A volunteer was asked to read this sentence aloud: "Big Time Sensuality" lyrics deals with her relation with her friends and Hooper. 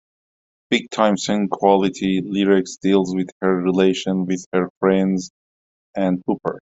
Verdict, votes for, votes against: accepted, 2, 1